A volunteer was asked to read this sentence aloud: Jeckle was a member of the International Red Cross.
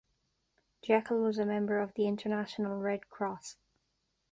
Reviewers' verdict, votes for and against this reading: accepted, 3, 0